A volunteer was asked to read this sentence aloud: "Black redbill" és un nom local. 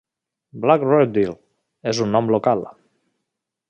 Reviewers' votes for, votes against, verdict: 2, 0, accepted